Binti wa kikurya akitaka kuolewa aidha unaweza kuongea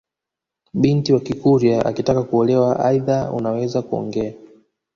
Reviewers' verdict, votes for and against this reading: rejected, 1, 2